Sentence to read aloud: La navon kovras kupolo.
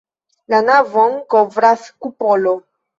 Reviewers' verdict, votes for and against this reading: accepted, 2, 1